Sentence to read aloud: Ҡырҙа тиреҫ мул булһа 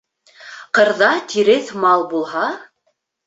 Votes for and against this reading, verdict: 1, 2, rejected